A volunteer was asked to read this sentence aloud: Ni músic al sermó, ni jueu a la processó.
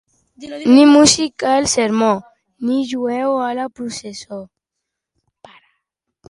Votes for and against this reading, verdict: 2, 0, accepted